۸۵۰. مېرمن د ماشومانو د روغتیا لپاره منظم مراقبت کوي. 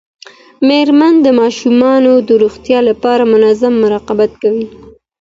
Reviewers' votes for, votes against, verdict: 0, 2, rejected